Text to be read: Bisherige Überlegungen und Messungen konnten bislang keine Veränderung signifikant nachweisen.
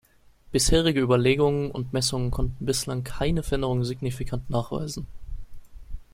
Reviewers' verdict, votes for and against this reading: rejected, 0, 2